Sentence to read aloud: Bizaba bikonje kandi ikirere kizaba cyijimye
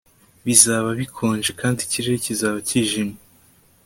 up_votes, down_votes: 2, 0